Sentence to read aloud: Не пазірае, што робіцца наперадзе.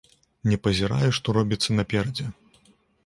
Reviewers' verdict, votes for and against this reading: accepted, 2, 0